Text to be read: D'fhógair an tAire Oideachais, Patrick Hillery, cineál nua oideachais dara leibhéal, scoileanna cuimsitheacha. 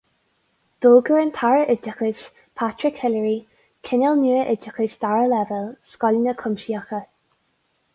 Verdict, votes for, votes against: rejected, 2, 2